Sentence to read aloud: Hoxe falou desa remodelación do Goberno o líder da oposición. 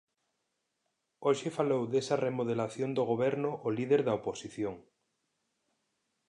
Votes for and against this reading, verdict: 2, 0, accepted